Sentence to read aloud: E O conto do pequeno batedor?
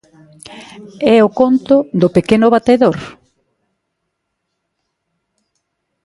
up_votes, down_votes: 2, 1